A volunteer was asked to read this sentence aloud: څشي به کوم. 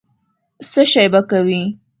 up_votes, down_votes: 0, 2